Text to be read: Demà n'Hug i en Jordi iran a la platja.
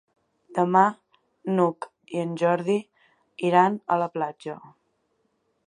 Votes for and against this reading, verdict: 2, 0, accepted